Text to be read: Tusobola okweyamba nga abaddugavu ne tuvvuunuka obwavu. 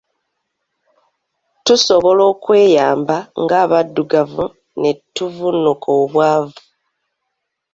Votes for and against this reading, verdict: 2, 0, accepted